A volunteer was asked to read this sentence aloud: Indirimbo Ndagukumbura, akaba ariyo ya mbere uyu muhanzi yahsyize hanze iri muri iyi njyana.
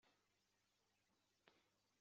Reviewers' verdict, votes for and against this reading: rejected, 0, 3